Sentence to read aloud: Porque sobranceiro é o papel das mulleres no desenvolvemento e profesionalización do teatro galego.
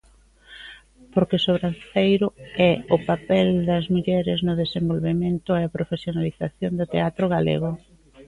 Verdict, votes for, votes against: rejected, 1, 2